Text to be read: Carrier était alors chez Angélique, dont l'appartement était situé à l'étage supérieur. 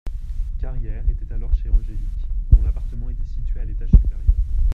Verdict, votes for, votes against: rejected, 1, 2